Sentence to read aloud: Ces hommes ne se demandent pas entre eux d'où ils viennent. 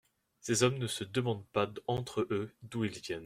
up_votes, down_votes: 0, 2